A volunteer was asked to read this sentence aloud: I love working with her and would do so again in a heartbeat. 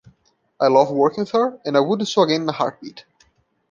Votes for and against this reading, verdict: 0, 2, rejected